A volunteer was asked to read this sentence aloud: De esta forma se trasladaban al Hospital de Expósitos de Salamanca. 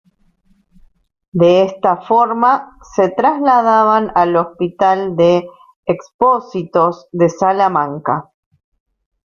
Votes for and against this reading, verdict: 2, 1, accepted